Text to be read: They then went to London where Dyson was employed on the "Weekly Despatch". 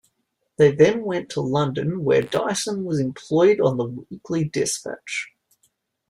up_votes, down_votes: 2, 0